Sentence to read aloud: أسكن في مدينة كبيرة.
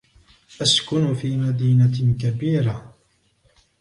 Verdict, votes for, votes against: accepted, 2, 0